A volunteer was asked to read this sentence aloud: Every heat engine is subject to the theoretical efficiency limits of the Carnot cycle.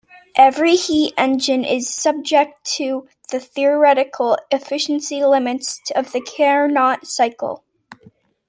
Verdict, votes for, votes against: accepted, 2, 0